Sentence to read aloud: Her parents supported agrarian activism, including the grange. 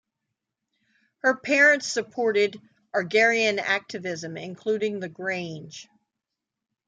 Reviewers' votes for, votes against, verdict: 1, 2, rejected